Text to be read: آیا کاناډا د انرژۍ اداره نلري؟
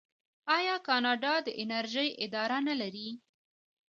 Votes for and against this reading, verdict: 2, 1, accepted